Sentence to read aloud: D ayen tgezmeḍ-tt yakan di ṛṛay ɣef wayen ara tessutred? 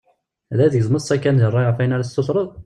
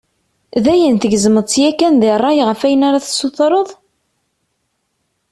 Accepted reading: second